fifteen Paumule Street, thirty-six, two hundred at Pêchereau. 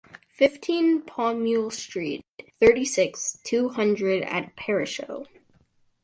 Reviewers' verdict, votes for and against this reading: accepted, 4, 0